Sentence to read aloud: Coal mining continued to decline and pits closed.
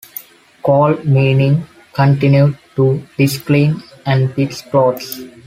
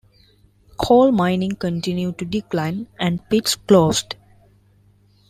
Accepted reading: second